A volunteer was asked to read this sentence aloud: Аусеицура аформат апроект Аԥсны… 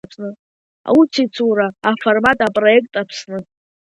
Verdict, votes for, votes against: accepted, 2, 0